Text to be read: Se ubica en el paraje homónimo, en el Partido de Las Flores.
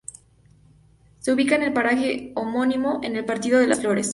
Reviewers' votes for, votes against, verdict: 2, 0, accepted